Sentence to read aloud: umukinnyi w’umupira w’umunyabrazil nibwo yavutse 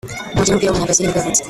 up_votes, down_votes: 0, 2